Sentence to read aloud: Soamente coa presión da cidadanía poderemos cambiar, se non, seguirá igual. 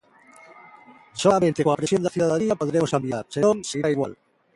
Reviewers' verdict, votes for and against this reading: rejected, 0, 3